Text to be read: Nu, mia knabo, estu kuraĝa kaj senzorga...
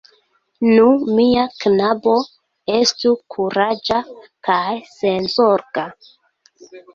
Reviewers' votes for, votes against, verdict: 0, 2, rejected